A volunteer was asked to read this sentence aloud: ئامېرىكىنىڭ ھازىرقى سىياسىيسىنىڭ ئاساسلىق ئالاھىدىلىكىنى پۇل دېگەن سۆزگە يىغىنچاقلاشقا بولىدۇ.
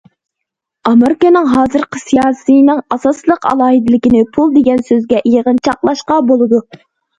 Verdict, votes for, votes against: accepted, 2, 0